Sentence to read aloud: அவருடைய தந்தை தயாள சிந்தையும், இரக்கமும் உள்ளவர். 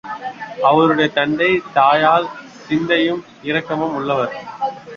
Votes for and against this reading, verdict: 0, 2, rejected